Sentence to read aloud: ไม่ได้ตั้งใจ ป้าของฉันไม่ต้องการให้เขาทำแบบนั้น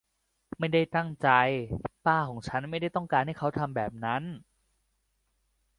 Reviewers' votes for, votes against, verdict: 2, 0, accepted